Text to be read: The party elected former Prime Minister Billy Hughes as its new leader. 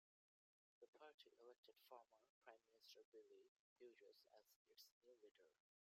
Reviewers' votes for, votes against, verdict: 0, 2, rejected